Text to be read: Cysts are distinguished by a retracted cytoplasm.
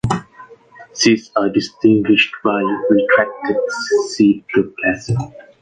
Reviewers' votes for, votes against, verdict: 1, 2, rejected